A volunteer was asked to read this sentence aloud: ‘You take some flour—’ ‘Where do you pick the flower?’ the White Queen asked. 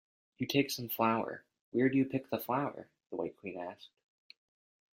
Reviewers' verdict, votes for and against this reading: accepted, 2, 0